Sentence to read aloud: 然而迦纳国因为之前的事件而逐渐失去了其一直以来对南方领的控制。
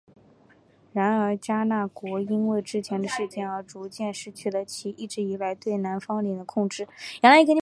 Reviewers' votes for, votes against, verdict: 2, 0, accepted